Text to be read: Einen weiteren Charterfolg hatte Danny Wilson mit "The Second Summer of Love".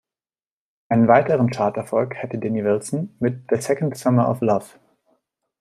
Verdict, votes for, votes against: rejected, 1, 2